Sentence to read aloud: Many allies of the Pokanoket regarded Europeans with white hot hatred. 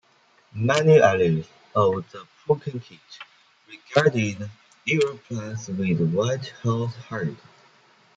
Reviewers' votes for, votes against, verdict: 0, 2, rejected